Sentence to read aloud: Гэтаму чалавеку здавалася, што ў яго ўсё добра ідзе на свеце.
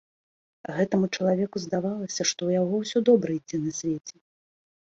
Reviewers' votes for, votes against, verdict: 2, 0, accepted